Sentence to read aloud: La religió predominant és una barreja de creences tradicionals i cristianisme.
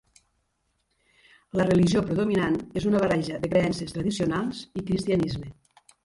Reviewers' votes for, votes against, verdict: 2, 0, accepted